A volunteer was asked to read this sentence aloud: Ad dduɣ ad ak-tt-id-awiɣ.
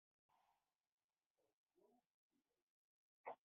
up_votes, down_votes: 0, 2